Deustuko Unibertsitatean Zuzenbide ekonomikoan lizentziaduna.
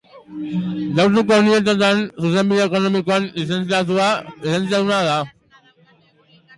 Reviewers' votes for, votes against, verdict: 0, 3, rejected